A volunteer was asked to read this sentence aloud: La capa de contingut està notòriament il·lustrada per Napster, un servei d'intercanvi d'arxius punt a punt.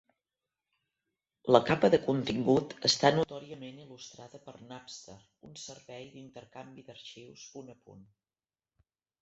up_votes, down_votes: 1, 2